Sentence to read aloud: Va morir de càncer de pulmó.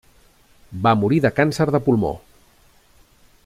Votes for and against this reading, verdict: 2, 0, accepted